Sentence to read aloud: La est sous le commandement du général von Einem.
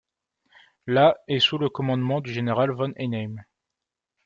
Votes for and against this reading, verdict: 2, 0, accepted